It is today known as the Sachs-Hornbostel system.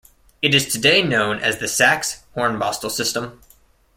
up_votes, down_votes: 2, 0